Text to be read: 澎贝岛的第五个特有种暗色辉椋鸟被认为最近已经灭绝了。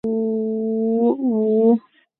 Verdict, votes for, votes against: rejected, 0, 2